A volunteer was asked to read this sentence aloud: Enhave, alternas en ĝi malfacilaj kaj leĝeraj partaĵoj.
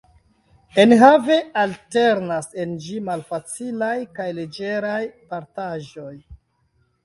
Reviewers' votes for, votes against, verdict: 2, 0, accepted